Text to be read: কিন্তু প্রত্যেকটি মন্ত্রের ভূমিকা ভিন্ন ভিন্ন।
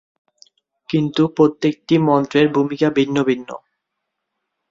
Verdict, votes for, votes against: accepted, 4, 0